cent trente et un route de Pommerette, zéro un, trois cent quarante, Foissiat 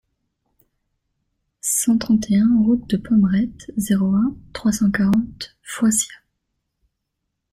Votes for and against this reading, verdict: 2, 0, accepted